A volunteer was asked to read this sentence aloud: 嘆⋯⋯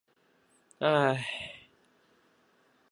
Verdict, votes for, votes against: rejected, 2, 4